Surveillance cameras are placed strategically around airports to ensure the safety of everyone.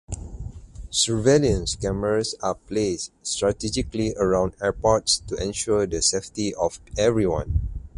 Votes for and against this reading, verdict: 6, 0, accepted